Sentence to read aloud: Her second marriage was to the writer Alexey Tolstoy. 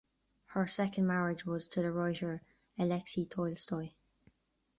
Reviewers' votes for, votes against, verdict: 7, 2, accepted